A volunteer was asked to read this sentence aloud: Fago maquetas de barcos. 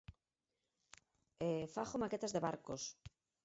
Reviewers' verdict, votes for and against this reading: rejected, 2, 4